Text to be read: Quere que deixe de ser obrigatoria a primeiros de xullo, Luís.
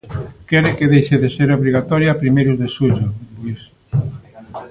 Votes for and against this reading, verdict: 3, 0, accepted